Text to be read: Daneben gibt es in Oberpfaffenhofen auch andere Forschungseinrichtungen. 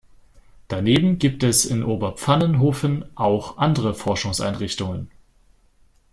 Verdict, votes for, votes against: rejected, 0, 2